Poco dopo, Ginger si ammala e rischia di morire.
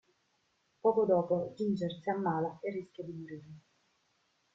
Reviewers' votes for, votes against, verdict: 2, 0, accepted